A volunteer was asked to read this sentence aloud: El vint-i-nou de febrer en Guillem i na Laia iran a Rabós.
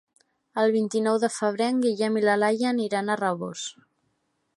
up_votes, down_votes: 1, 2